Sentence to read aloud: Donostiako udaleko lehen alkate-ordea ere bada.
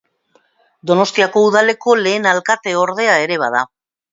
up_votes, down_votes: 2, 0